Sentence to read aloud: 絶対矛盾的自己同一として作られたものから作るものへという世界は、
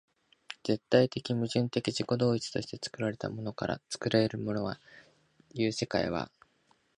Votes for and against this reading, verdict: 1, 2, rejected